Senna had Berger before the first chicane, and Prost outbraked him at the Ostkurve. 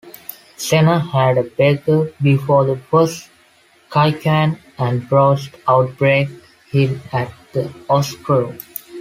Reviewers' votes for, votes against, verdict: 1, 2, rejected